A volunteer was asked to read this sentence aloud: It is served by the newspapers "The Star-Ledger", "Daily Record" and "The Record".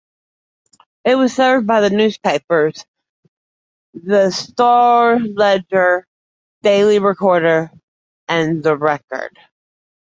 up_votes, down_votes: 0, 2